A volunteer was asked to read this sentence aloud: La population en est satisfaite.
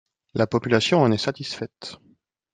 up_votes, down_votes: 2, 0